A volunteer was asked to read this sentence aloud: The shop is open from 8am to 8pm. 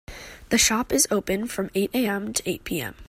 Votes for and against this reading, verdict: 0, 2, rejected